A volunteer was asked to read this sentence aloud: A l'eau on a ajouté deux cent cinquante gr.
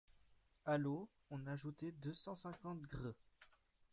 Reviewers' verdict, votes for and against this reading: rejected, 1, 2